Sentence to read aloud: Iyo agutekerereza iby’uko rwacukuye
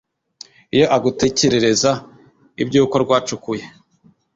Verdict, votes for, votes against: accepted, 2, 0